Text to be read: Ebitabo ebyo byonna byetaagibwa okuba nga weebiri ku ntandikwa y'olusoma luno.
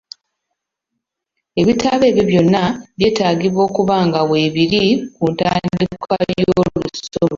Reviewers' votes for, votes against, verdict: 0, 2, rejected